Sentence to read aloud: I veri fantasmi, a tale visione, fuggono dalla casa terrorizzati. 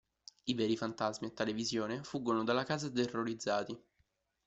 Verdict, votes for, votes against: rejected, 0, 2